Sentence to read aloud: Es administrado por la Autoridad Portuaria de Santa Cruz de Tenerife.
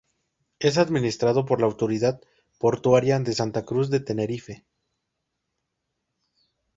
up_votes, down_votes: 2, 0